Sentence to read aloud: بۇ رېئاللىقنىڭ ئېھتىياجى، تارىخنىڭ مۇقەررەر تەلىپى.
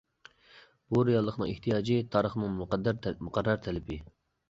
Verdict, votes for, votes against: rejected, 0, 2